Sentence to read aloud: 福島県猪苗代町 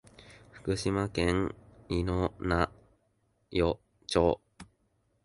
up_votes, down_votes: 0, 2